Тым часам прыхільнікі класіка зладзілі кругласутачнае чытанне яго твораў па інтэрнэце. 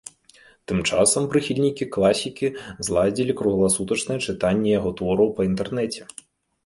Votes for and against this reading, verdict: 0, 2, rejected